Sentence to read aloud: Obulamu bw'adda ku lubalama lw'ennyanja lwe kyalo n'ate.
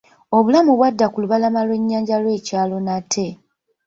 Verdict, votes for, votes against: rejected, 1, 2